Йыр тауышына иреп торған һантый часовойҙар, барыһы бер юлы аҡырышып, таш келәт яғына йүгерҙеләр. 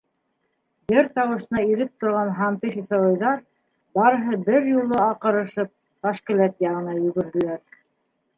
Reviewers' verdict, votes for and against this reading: rejected, 0, 2